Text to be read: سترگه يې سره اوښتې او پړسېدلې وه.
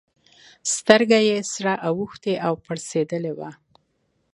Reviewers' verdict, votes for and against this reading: accepted, 3, 0